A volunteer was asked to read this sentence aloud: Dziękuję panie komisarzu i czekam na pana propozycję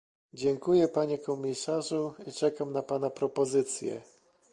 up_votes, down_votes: 2, 1